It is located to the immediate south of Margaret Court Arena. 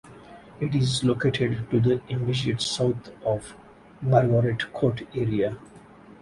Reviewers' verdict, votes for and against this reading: rejected, 0, 4